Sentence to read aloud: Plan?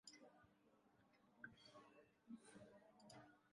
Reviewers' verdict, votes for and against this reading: rejected, 0, 2